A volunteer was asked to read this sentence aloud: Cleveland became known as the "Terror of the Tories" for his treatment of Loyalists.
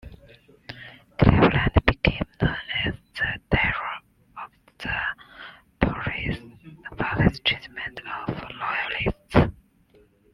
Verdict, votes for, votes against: rejected, 0, 2